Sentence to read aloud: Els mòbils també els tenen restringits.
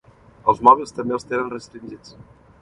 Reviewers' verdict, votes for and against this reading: accepted, 2, 0